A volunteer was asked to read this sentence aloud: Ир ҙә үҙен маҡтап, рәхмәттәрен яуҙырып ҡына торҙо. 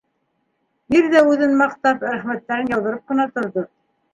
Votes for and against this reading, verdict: 1, 2, rejected